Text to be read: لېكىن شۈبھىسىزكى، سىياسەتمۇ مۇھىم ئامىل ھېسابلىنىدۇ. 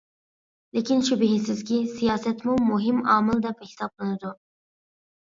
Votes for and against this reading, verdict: 1, 2, rejected